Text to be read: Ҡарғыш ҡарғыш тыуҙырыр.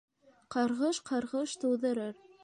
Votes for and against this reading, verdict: 2, 0, accepted